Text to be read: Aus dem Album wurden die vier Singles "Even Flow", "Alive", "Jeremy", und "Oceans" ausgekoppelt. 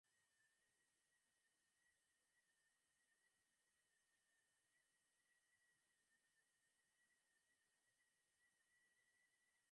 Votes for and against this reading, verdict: 0, 2, rejected